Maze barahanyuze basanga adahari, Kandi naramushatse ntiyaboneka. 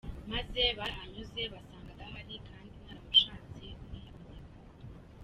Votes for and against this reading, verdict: 0, 2, rejected